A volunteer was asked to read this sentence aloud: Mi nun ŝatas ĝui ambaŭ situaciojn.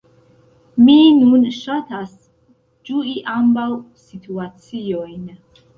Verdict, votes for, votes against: accepted, 2, 1